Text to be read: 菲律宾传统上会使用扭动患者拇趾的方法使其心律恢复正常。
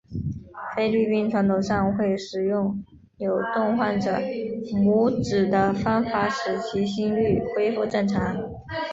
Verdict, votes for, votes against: accepted, 2, 1